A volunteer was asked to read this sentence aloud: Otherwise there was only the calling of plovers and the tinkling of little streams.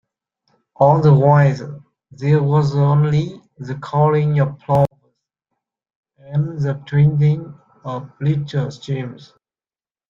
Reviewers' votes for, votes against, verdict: 0, 2, rejected